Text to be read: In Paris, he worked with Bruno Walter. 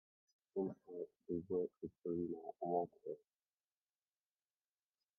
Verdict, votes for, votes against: rejected, 0, 2